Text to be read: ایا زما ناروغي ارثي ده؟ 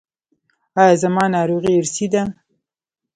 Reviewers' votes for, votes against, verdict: 0, 2, rejected